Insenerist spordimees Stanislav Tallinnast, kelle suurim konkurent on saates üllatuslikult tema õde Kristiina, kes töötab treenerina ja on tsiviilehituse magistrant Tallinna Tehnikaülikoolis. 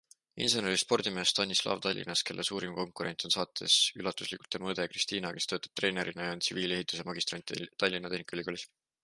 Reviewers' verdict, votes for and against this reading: accepted, 2, 0